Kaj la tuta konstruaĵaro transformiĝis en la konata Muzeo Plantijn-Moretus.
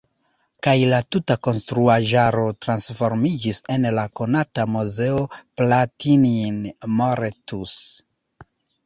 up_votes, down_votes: 1, 2